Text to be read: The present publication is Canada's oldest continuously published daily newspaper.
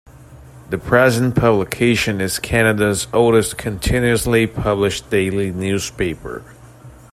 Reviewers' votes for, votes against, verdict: 2, 0, accepted